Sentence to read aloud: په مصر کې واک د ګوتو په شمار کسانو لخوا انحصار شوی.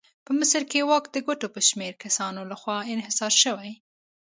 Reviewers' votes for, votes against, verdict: 2, 0, accepted